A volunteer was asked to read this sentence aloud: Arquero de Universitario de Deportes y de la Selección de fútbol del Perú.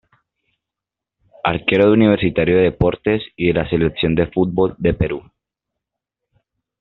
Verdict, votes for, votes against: accepted, 3, 2